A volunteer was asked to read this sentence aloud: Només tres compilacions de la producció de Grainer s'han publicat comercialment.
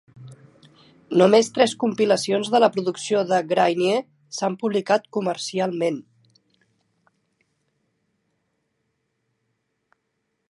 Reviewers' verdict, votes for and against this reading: rejected, 0, 2